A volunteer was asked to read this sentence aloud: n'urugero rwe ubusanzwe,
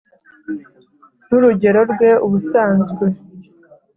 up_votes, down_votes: 3, 0